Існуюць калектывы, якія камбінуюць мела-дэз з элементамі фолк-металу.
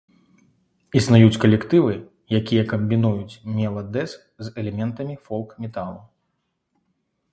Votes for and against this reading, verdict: 2, 0, accepted